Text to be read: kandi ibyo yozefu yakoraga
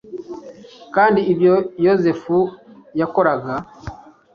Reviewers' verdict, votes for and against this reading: accepted, 2, 0